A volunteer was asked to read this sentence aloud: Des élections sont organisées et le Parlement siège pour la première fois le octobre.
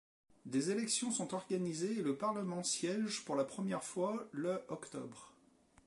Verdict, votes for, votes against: accepted, 2, 0